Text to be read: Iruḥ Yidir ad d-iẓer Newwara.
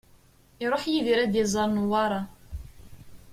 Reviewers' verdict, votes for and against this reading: accepted, 2, 0